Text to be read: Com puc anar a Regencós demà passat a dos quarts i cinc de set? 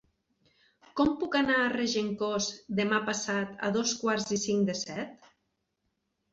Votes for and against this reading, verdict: 3, 0, accepted